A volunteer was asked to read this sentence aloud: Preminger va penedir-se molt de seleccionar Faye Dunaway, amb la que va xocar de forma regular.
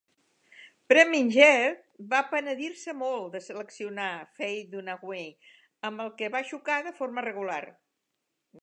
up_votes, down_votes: 1, 2